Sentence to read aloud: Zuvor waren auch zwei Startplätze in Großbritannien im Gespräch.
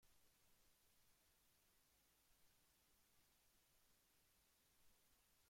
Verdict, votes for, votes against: rejected, 0, 2